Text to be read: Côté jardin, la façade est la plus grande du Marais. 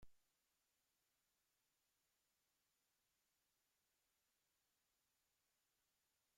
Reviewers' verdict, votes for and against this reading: rejected, 0, 2